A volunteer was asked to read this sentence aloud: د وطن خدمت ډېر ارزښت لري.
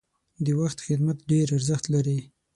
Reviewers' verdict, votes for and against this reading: rejected, 3, 6